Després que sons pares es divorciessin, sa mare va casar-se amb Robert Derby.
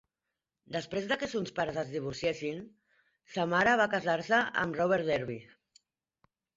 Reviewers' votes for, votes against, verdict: 0, 2, rejected